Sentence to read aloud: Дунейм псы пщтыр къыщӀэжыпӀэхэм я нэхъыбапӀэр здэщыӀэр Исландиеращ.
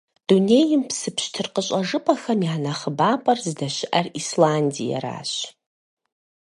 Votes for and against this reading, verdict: 4, 0, accepted